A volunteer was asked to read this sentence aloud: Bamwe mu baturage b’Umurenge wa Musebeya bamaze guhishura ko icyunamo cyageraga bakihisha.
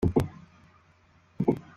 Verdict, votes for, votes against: rejected, 0, 2